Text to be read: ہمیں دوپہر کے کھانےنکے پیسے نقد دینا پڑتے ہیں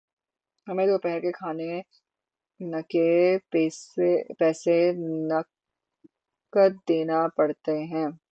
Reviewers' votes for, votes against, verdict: 21, 9, accepted